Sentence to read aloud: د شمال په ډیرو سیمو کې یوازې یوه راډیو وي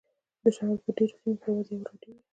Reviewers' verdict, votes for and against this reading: accepted, 2, 0